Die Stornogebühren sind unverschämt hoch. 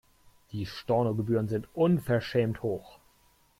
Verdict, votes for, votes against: accepted, 2, 0